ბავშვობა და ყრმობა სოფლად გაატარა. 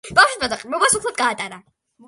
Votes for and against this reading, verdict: 2, 1, accepted